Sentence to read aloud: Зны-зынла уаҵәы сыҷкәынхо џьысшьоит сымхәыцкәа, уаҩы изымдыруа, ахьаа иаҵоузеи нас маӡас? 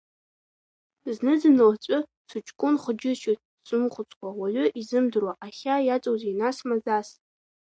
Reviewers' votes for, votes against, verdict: 1, 2, rejected